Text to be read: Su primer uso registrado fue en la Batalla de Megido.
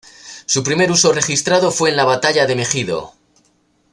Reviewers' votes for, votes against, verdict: 2, 0, accepted